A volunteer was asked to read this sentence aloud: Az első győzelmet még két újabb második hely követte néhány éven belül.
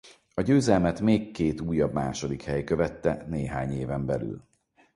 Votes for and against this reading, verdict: 0, 4, rejected